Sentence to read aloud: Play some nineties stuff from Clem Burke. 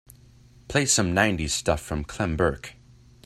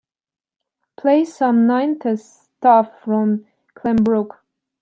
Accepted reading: first